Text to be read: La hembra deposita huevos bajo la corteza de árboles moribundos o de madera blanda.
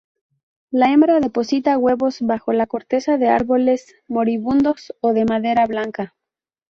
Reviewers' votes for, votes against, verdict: 0, 2, rejected